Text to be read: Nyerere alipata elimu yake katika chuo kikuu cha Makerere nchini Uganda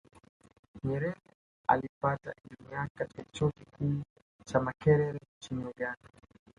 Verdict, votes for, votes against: rejected, 1, 2